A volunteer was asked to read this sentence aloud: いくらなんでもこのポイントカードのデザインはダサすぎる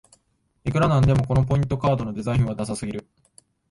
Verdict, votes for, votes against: accepted, 2, 0